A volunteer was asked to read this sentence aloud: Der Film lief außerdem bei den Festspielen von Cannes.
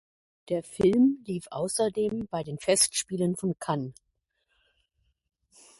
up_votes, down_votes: 2, 0